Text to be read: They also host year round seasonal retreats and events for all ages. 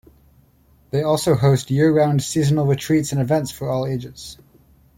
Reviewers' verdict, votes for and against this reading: accepted, 2, 0